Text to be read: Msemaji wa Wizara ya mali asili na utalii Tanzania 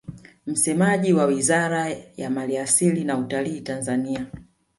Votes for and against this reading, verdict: 1, 2, rejected